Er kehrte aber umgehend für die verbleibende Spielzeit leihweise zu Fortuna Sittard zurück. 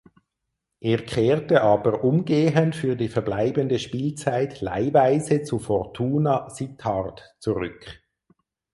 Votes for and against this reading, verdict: 4, 0, accepted